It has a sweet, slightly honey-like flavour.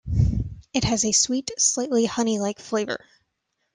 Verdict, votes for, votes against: accepted, 2, 0